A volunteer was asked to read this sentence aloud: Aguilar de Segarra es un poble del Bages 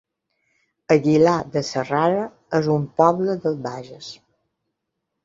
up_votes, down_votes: 1, 2